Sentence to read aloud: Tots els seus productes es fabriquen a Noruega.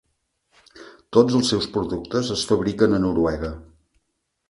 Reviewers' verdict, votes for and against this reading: accepted, 4, 0